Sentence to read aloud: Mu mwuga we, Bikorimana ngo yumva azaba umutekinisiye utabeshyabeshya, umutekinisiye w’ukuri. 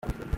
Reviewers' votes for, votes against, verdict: 0, 2, rejected